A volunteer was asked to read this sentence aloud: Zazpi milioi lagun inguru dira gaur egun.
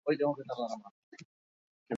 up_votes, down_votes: 2, 0